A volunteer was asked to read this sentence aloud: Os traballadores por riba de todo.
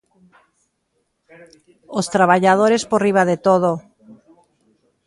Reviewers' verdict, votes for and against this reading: accepted, 2, 0